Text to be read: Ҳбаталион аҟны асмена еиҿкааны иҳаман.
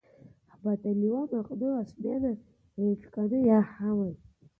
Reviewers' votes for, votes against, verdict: 0, 2, rejected